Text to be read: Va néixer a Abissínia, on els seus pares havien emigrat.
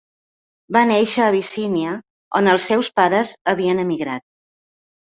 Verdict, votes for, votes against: accepted, 2, 0